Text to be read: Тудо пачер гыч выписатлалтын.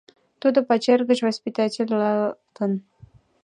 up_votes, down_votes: 0, 2